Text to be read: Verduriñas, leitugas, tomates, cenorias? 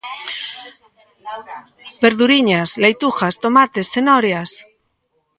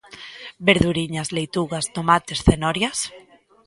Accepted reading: second